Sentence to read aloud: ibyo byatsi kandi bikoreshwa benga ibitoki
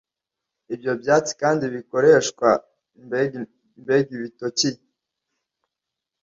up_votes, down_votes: 1, 2